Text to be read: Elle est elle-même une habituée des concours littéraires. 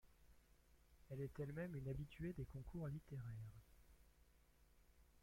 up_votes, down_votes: 2, 1